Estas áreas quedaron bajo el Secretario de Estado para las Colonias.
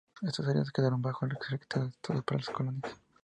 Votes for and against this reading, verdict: 4, 2, accepted